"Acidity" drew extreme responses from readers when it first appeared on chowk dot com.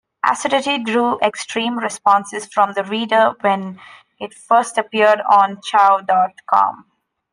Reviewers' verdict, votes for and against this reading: rejected, 1, 2